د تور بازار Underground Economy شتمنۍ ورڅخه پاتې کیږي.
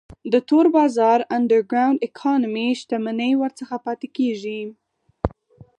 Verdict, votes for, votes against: rejected, 2, 4